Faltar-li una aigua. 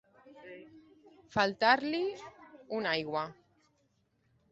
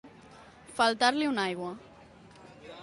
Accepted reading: first